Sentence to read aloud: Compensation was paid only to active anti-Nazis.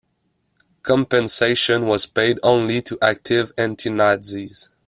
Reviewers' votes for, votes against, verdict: 2, 0, accepted